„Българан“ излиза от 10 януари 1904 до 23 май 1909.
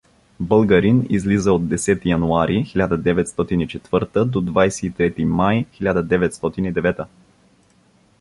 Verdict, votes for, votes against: rejected, 0, 2